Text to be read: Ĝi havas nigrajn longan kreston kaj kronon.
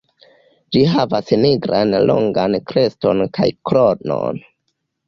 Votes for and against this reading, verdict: 1, 2, rejected